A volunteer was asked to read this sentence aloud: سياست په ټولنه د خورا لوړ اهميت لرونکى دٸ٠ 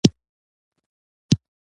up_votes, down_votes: 0, 2